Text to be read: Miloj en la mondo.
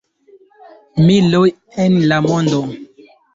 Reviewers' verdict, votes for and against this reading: rejected, 1, 2